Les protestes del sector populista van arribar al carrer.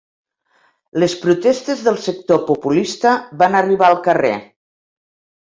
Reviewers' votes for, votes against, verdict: 3, 0, accepted